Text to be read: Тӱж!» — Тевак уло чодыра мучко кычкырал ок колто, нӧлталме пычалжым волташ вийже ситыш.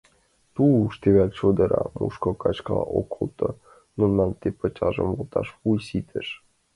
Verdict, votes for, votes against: rejected, 0, 2